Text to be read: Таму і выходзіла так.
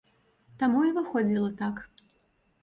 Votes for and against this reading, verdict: 2, 0, accepted